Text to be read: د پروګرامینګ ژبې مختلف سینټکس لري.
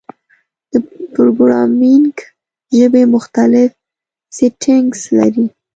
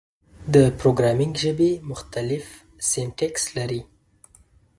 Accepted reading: second